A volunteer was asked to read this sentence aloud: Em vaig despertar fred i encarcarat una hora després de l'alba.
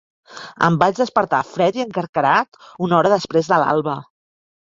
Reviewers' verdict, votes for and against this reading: rejected, 0, 2